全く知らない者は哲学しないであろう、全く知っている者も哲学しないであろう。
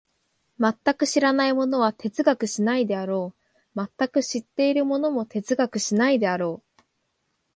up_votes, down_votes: 5, 0